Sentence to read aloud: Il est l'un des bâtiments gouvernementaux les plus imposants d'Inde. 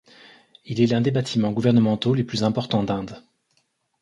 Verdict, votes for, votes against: rejected, 1, 2